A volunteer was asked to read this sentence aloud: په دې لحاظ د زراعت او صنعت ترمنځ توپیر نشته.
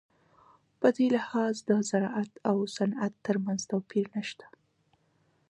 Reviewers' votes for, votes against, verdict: 0, 2, rejected